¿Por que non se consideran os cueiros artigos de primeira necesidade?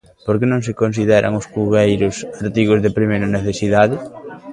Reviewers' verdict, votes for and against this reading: rejected, 1, 2